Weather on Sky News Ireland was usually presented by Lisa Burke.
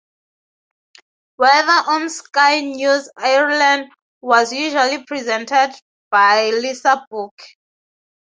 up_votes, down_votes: 2, 0